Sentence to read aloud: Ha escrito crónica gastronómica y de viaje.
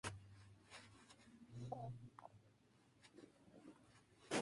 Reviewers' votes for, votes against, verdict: 0, 2, rejected